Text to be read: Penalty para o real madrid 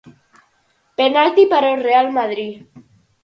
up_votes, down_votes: 4, 0